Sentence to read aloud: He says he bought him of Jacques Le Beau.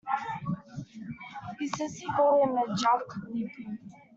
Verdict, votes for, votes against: rejected, 0, 2